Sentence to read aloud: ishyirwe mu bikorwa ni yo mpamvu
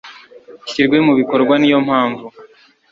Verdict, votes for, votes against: accepted, 2, 0